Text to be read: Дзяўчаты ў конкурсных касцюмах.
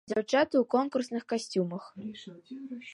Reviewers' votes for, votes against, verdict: 2, 1, accepted